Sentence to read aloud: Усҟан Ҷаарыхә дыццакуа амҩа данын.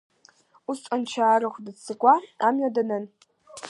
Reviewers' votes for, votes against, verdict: 2, 0, accepted